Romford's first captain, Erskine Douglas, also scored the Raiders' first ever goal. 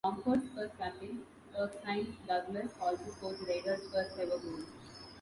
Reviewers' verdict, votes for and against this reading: rejected, 0, 2